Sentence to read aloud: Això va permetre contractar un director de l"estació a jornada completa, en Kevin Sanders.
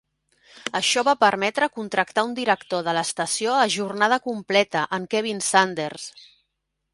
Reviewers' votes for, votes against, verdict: 2, 0, accepted